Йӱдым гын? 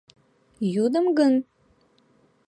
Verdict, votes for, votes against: accepted, 3, 2